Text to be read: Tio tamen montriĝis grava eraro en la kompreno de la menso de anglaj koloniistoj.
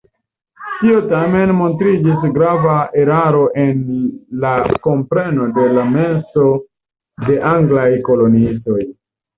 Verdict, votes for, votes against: accepted, 2, 1